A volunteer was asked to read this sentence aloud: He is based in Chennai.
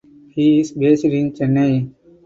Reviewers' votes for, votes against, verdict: 4, 0, accepted